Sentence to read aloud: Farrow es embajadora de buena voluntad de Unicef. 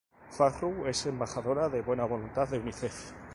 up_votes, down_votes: 2, 2